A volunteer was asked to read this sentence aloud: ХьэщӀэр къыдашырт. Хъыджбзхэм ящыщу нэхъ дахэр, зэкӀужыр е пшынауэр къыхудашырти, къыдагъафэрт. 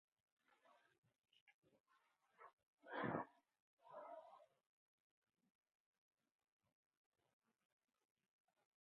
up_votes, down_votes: 0, 4